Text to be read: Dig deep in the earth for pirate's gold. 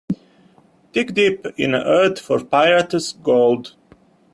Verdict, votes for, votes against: rejected, 0, 2